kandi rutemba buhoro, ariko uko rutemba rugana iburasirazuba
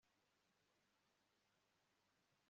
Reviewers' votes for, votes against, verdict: 1, 2, rejected